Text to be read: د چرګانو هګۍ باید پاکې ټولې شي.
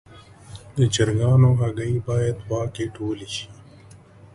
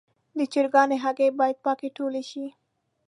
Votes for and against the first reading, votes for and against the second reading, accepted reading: 0, 2, 2, 0, second